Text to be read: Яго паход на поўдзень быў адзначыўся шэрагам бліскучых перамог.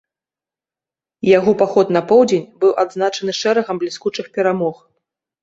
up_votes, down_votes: 1, 2